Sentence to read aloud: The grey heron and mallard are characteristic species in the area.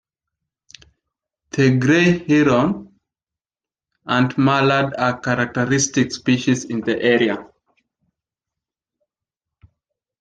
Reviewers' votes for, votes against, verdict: 2, 0, accepted